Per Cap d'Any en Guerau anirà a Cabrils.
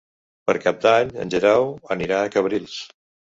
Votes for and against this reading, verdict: 1, 2, rejected